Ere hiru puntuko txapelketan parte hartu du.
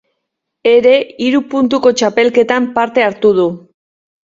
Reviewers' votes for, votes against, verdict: 2, 0, accepted